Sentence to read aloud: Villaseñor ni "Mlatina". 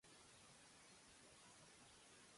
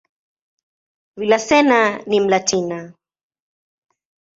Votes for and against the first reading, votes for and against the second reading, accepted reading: 0, 2, 2, 0, second